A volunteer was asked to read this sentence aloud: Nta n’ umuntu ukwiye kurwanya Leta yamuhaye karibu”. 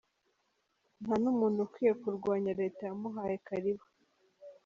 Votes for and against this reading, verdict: 3, 0, accepted